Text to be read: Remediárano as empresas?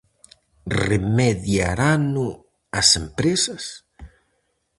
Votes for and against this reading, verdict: 0, 4, rejected